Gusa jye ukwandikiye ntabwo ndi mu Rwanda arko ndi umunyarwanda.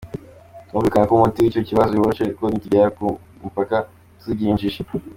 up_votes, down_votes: 0, 2